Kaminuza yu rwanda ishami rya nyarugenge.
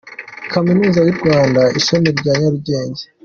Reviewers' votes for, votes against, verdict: 2, 1, accepted